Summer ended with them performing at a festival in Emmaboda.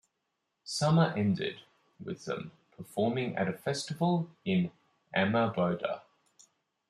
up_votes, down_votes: 1, 2